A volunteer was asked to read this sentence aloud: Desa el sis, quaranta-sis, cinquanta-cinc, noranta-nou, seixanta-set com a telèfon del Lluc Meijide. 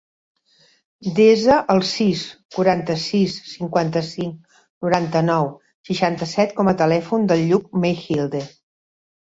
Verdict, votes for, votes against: rejected, 0, 2